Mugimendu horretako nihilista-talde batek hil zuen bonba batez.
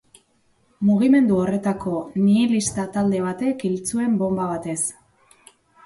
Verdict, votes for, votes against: accepted, 2, 1